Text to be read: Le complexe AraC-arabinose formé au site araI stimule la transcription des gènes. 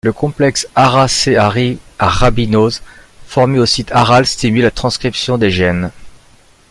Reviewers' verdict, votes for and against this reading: rejected, 1, 2